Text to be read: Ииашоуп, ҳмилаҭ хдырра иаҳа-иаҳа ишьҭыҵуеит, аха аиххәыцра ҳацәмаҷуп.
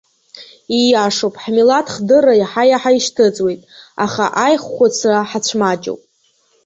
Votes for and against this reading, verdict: 3, 0, accepted